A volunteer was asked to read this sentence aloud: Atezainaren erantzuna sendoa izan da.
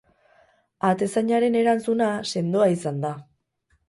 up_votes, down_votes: 0, 2